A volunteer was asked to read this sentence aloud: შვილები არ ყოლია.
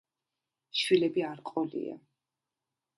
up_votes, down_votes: 1, 2